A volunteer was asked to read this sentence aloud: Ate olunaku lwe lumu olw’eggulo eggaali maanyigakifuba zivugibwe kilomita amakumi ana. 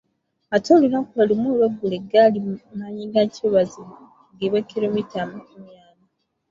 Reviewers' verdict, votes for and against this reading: rejected, 0, 2